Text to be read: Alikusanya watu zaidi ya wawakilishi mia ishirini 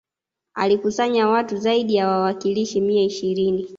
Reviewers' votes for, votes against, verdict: 2, 0, accepted